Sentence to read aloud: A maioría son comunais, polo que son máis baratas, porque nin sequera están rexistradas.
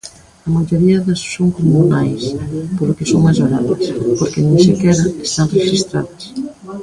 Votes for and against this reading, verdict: 0, 2, rejected